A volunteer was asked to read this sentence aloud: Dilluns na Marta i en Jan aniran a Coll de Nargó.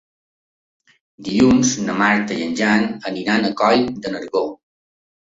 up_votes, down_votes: 3, 0